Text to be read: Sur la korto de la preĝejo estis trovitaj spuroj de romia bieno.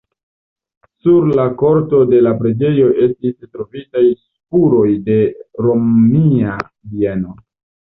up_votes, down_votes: 2, 0